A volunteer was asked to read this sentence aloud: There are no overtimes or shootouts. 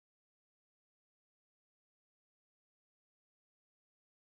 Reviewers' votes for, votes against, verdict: 0, 2, rejected